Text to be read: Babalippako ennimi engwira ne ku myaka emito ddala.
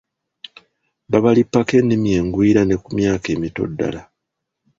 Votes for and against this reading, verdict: 2, 0, accepted